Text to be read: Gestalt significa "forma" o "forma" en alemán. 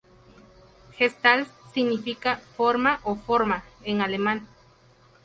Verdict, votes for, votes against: accepted, 2, 0